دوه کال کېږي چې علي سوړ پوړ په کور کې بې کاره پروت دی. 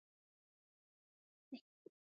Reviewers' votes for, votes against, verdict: 0, 2, rejected